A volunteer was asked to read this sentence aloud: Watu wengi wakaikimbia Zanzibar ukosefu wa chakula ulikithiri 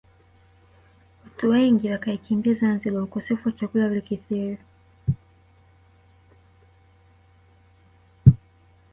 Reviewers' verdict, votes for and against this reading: rejected, 2, 3